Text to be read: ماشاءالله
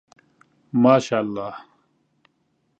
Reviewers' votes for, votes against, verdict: 2, 0, accepted